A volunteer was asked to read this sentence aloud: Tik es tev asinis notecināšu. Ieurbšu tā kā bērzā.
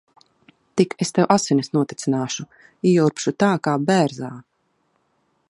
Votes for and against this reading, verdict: 2, 0, accepted